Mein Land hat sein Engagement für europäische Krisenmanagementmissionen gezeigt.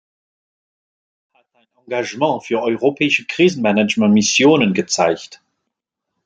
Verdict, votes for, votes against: rejected, 0, 2